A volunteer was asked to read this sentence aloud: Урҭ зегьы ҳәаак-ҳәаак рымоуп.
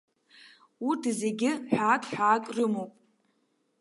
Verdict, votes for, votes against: rejected, 0, 2